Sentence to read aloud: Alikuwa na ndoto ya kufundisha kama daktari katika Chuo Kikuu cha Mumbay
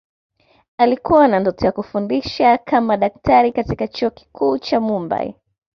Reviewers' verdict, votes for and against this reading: accepted, 2, 0